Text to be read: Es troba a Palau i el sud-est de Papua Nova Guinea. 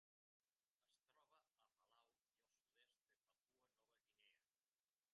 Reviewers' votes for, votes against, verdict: 0, 2, rejected